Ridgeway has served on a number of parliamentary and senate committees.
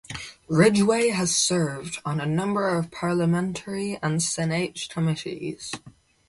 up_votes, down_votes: 0, 4